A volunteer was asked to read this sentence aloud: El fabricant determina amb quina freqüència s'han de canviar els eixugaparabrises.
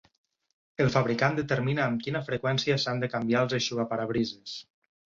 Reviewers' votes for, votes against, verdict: 8, 0, accepted